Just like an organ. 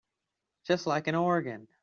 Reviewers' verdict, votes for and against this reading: accepted, 3, 0